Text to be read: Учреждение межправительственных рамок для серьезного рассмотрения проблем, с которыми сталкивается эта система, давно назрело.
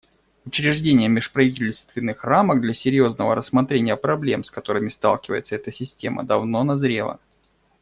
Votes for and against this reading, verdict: 2, 0, accepted